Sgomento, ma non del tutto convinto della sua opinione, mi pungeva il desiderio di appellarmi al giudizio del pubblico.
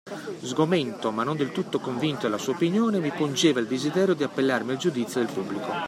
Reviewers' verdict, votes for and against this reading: accepted, 2, 0